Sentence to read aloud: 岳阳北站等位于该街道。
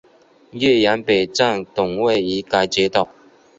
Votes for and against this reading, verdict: 4, 0, accepted